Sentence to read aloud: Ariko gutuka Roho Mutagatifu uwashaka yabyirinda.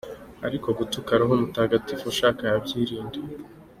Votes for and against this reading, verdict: 2, 1, accepted